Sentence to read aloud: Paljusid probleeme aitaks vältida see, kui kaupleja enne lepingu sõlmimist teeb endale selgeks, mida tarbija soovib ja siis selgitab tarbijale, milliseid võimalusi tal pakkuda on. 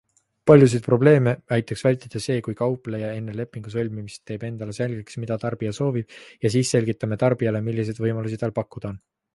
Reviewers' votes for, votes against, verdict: 1, 2, rejected